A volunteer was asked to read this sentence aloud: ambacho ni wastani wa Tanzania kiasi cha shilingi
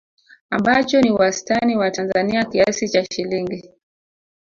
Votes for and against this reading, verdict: 1, 2, rejected